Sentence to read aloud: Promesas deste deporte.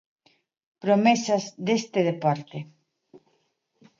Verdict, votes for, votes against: accepted, 2, 0